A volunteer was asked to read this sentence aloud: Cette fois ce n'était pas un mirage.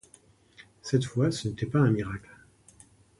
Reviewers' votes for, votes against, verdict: 1, 2, rejected